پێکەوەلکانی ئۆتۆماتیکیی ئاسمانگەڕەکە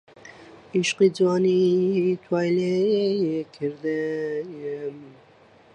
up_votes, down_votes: 0, 2